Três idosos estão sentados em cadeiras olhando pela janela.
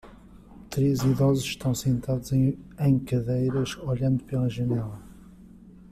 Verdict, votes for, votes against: rejected, 0, 2